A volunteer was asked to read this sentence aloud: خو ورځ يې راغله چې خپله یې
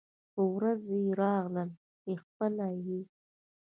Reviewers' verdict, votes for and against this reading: accepted, 2, 0